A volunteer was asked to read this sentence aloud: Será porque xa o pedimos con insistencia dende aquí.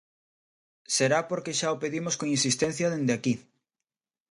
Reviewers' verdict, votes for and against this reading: accepted, 2, 0